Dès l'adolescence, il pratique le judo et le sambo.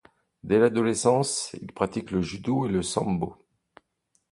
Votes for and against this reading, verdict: 2, 0, accepted